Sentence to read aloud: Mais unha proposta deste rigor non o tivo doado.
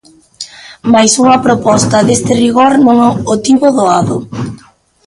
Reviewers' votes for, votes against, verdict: 0, 2, rejected